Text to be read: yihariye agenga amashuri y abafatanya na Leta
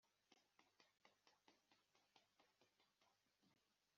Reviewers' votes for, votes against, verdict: 0, 2, rejected